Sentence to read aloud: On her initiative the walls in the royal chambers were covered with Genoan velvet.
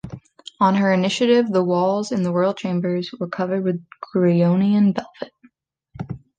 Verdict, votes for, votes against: rejected, 1, 2